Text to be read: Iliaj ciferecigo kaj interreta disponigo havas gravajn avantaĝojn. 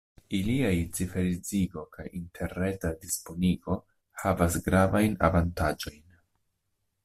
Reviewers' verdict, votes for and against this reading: accepted, 2, 0